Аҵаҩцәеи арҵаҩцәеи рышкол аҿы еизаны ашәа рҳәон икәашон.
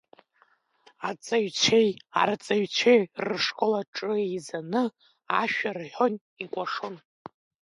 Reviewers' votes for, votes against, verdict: 2, 1, accepted